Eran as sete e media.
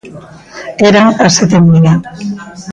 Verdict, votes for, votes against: accepted, 2, 0